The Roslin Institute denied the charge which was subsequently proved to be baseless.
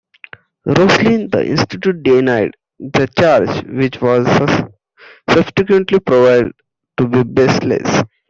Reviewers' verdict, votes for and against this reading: rejected, 0, 2